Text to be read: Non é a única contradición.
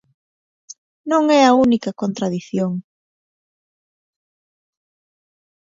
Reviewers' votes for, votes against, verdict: 2, 0, accepted